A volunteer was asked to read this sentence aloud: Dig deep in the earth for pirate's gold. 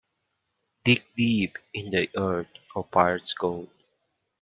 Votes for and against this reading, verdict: 1, 2, rejected